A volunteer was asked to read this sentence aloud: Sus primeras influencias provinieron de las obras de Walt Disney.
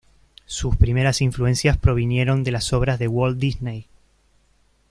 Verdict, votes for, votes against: accepted, 2, 0